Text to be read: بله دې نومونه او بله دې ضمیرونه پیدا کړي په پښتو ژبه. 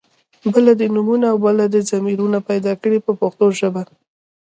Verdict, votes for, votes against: rejected, 0, 2